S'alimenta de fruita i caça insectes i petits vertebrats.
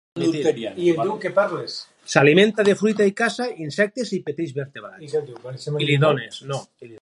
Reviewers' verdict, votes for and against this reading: rejected, 2, 2